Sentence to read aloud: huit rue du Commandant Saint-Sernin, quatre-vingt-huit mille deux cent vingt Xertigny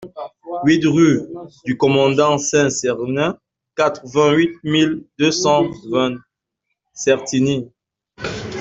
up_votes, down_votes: 1, 2